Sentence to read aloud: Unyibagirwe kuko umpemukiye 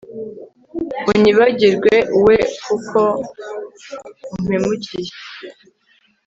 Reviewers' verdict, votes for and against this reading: rejected, 1, 2